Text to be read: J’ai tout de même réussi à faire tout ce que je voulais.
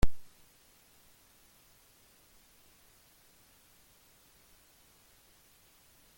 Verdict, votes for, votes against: rejected, 0, 2